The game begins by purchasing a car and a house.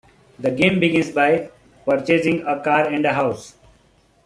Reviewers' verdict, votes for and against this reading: accepted, 2, 0